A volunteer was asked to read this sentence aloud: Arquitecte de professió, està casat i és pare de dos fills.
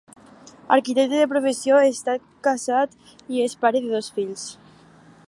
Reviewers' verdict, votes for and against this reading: accepted, 4, 0